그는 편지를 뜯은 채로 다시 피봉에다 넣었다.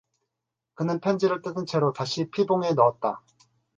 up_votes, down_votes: 0, 4